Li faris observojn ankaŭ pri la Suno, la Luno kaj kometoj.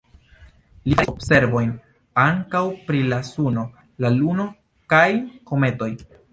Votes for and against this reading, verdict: 2, 0, accepted